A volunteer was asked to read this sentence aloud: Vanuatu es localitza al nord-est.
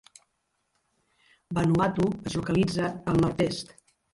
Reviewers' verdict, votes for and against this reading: rejected, 1, 2